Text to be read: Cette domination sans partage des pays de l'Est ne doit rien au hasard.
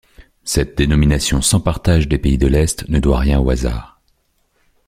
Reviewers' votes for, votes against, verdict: 0, 2, rejected